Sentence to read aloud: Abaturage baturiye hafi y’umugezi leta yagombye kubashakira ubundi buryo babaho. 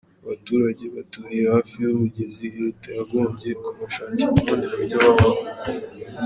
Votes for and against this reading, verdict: 1, 2, rejected